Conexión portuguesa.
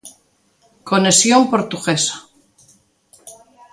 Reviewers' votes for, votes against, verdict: 2, 0, accepted